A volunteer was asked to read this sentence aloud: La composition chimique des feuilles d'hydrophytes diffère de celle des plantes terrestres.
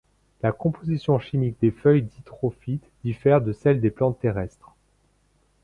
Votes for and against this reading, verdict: 2, 0, accepted